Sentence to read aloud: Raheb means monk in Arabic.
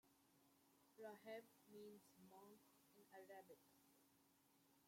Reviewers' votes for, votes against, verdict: 0, 2, rejected